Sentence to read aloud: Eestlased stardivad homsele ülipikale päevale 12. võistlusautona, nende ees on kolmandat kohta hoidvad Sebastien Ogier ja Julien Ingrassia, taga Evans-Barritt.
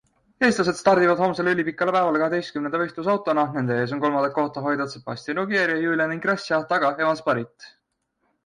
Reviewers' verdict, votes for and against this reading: rejected, 0, 2